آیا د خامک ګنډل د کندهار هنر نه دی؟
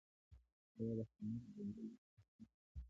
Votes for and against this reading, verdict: 0, 2, rejected